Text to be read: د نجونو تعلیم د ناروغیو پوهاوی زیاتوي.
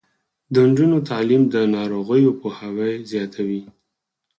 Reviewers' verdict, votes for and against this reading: rejected, 2, 4